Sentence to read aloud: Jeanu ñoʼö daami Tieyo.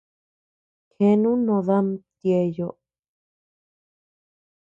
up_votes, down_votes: 0, 2